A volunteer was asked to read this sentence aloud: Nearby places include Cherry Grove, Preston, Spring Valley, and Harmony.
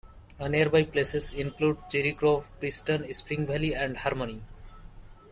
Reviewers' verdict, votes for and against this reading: accepted, 2, 0